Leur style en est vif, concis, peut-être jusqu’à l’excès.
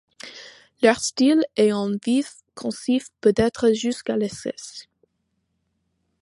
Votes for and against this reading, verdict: 1, 2, rejected